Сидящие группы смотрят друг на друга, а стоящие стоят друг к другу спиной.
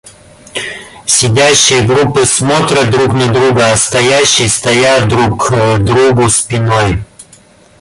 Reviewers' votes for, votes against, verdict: 0, 2, rejected